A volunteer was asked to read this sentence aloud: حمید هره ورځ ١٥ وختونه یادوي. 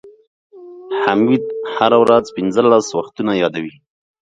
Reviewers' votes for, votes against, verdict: 0, 2, rejected